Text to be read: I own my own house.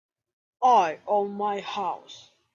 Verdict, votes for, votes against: rejected, 0, 2